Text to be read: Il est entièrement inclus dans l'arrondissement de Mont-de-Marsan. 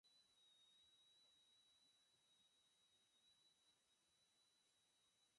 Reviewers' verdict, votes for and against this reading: rejected, 0, 4